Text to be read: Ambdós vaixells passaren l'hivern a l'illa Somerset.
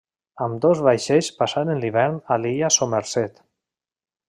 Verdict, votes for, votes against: rejected, 1, 2